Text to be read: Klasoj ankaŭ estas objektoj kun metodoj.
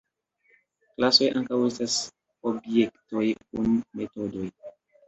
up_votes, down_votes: 2, 0